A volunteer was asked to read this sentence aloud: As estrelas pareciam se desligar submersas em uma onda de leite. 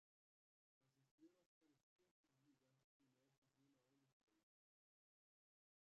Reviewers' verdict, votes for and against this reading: rejected, 0, 2